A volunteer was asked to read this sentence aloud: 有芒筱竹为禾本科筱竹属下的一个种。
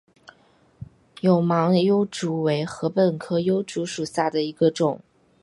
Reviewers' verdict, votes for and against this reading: rejected, 1, 3